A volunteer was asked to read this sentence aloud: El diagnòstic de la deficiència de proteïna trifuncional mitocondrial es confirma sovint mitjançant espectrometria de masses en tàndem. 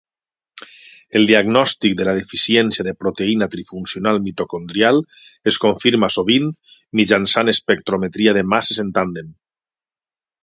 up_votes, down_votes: 3, 3